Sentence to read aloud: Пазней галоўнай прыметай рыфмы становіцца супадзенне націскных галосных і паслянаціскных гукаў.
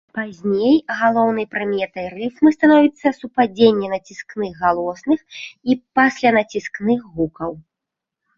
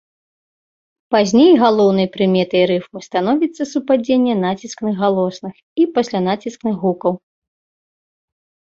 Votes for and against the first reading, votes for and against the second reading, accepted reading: 1, 2, 2, 0, second